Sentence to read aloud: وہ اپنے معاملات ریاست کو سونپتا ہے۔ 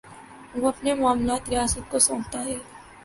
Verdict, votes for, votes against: accepted, 2, 0